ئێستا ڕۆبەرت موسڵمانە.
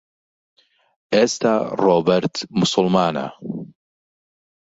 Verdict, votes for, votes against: accepted, 2, 0